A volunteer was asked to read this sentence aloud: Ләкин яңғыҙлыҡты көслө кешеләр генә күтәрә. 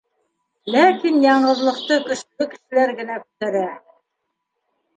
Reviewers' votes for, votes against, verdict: 1, 2, rejected